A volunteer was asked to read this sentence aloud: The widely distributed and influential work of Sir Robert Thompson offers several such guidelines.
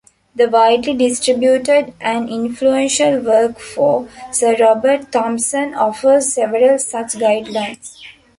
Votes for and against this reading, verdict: 0, 2, rejected